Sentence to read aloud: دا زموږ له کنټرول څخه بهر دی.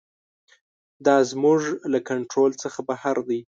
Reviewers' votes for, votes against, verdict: 2, 0, accepted